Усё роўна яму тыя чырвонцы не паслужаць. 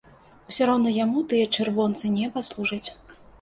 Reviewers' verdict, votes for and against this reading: accepted, 2, 0